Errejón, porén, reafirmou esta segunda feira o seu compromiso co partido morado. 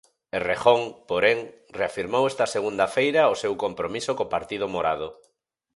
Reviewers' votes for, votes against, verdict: 4, 0, accepted